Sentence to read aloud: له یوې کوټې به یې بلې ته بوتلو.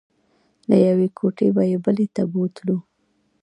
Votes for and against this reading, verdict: 1, 2, rejected